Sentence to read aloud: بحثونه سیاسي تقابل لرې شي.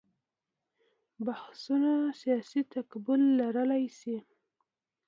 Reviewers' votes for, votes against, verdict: 0, 2, rejected